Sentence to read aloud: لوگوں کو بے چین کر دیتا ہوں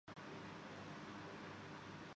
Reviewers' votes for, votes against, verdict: 0, 4, rejected